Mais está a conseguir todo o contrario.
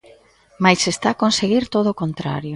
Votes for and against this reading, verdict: 2, 0, accepted